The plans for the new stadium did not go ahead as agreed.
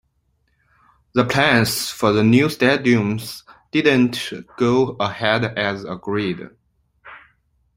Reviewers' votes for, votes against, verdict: 2, 1, accepted